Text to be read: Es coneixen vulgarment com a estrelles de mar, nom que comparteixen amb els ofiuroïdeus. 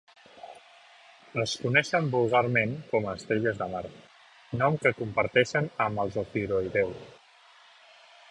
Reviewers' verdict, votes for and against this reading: accepted, 2, 0